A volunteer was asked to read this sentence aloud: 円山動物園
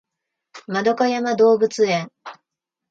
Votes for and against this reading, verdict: 2, 1, accepted